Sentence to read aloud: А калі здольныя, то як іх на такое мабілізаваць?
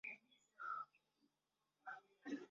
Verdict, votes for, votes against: rejected, 0, 2